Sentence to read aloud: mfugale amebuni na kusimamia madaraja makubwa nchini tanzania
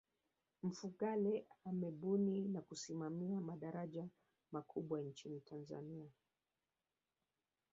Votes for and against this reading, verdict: 1, 3, rejected